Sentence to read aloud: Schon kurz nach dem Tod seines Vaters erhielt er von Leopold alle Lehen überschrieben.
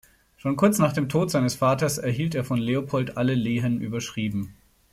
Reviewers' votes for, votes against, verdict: 2, 0, accepted